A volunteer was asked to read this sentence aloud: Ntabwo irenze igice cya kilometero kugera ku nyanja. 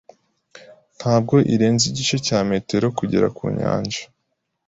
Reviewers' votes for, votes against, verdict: 0, 2, rejected